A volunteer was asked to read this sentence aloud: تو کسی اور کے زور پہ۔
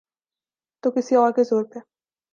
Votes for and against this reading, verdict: 2, 0, accepted